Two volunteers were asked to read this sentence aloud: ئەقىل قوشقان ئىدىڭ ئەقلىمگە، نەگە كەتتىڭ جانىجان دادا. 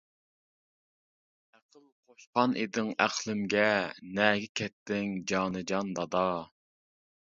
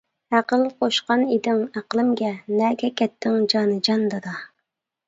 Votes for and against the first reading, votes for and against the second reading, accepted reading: 0, 2, 2, 0, second